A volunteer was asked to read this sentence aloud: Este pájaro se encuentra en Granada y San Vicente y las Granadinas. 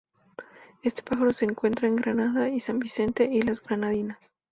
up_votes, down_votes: 2, 0